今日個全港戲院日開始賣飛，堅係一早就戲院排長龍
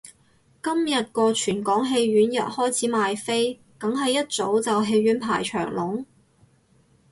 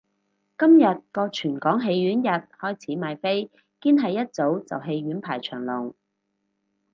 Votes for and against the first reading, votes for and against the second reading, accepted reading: 0, 2, 4, 0, second